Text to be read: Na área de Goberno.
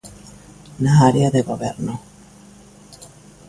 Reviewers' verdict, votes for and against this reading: accepted, 2, 0